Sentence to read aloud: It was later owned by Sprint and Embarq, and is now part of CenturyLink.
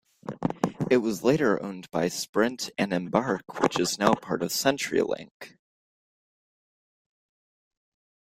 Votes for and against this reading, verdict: 1, 2, rejected